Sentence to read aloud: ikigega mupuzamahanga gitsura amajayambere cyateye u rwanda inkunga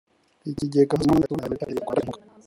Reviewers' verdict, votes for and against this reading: rejected, 0, 2